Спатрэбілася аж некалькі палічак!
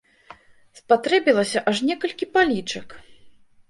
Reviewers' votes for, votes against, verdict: 2, 0, accepted